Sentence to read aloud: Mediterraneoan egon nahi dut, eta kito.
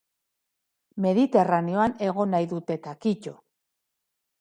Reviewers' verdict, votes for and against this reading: accepted, 2, 0